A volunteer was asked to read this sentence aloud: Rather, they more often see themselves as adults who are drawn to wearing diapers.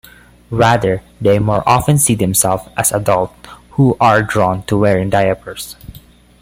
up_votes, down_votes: 0, 2